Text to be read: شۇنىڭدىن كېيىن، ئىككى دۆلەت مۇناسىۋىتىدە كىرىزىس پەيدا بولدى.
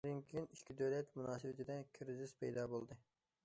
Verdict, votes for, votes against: rejected, 0, 2